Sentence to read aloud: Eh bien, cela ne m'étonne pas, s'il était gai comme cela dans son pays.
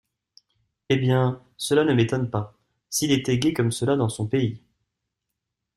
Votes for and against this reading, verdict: 2, 0, accepted